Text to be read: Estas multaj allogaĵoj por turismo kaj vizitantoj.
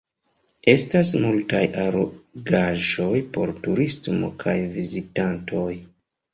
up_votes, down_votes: 2, 0